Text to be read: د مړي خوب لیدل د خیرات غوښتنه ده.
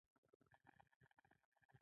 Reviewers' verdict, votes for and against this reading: accepted, 2, 0